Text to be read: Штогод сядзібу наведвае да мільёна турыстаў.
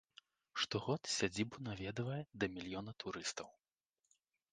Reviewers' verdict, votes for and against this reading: accepted, 3, 0